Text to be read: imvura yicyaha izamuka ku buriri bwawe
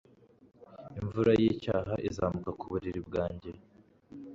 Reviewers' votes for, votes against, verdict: 1, 2, rejected